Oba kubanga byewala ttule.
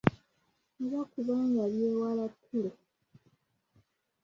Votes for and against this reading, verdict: 1, 2, rejected